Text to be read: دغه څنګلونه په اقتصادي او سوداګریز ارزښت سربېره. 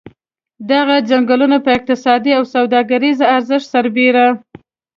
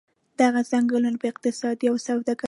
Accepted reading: first